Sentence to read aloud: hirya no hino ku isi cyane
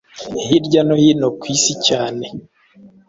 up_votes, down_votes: 2, 0